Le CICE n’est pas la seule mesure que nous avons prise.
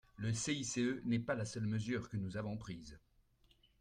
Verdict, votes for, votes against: accepted, 2, 0